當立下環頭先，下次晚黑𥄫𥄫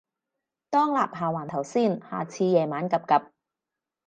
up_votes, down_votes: 2, 2